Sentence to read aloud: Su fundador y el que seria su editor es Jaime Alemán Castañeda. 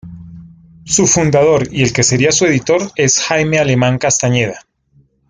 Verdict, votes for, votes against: accepted, 2, 0